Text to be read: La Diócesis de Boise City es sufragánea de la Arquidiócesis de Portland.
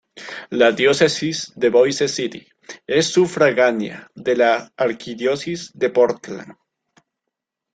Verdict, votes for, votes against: rejected, 1, 2